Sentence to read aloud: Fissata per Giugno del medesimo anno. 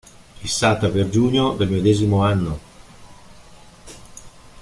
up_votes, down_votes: 3, 0